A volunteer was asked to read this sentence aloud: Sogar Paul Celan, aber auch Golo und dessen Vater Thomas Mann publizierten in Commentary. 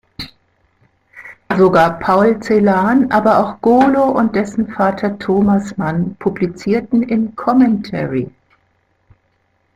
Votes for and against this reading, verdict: 2, 0, accepted